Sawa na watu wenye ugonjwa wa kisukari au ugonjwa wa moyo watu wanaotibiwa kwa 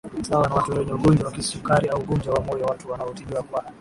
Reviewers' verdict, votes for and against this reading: accepted, 11, 0